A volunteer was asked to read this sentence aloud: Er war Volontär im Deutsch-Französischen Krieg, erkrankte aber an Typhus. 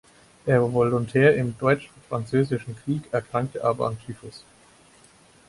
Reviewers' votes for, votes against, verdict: 0, 4, rejected